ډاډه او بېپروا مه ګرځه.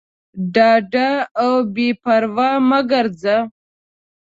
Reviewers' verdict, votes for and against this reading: accepted, 2, 0